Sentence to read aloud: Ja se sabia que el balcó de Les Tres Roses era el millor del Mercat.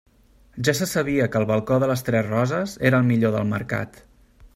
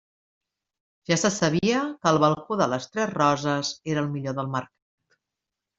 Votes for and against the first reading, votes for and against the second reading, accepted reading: 3, 0, 1, 2, first